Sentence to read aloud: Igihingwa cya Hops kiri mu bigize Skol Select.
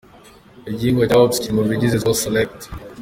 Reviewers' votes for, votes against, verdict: 3, 2, accepted